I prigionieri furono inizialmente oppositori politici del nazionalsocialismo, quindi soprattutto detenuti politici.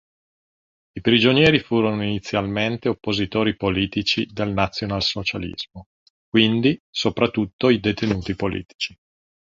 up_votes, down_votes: 0, 2